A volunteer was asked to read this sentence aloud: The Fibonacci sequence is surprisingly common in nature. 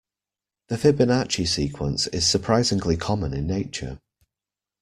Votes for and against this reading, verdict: 2, 0, accepted